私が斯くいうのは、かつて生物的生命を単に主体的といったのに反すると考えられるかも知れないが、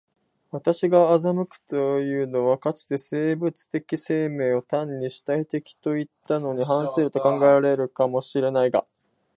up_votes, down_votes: 4, 5